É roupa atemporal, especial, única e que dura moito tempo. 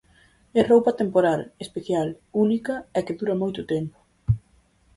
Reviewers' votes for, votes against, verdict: 4, 0, accepted